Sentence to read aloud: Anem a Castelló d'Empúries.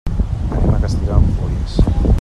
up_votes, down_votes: 1, 2